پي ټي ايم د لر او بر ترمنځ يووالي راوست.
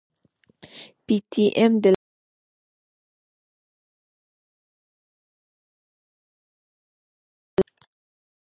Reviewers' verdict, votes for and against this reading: accepted, 2, 0